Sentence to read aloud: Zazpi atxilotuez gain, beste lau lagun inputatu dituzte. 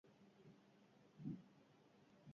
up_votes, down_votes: 0, 2